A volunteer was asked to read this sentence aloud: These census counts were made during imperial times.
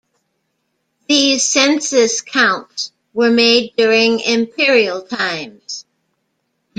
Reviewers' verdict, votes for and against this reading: accepted, 2, 0